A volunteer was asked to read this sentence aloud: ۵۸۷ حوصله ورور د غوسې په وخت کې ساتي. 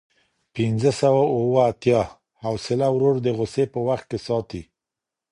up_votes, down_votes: 0, 2